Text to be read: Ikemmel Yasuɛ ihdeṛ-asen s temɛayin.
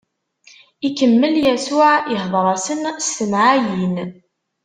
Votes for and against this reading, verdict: 2, 0, accepted